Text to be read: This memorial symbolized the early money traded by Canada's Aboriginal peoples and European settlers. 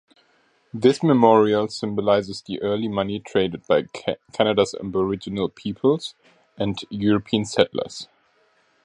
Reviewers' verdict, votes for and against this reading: rejected, 1, 2